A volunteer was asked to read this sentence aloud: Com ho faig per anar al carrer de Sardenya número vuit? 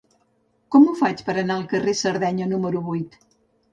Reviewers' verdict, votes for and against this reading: rejected, 1, 2